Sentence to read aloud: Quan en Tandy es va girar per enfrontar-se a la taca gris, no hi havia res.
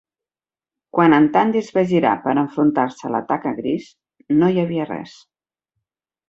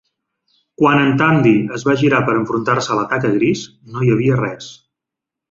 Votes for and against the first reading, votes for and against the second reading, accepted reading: 4, 0, 1, 2, first